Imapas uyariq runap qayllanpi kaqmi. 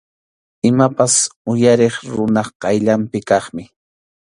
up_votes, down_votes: 2, 0